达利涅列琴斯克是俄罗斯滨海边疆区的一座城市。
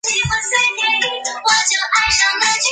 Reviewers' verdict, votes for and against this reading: rejected, 0, 2